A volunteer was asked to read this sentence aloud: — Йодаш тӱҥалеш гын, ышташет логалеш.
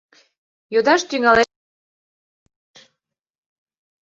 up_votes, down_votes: 0, 2